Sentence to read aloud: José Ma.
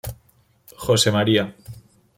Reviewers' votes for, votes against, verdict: 0, 2, rejected